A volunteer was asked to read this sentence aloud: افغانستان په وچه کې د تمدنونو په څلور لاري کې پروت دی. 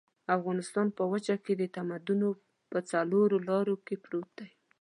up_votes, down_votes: 0, 2